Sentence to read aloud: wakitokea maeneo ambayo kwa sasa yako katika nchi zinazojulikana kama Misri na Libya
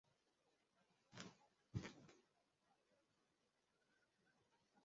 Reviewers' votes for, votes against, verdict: 0, 2, rejected